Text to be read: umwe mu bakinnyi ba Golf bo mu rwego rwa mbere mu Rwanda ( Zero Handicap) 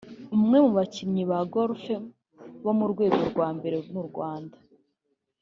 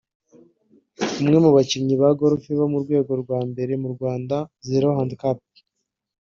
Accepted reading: second